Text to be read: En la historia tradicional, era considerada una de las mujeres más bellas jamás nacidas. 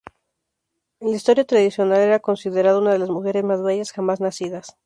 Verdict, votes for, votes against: accepted, 2, 0